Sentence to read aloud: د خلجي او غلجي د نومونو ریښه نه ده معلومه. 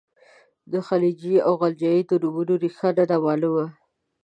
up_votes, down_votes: 1, 2